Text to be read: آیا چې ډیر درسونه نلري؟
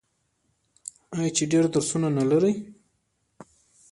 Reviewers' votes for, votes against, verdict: 0, 2, rejected